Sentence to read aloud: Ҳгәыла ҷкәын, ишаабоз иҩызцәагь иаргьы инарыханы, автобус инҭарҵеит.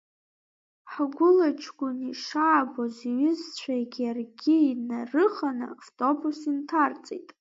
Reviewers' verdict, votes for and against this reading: rejected, 0, 2